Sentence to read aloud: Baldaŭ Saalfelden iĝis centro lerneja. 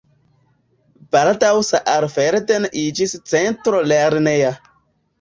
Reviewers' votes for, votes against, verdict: 2, 0, accepted